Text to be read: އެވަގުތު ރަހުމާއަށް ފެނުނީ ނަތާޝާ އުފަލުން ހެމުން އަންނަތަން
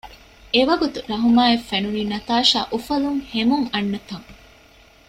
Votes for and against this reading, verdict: 2, 0, accepted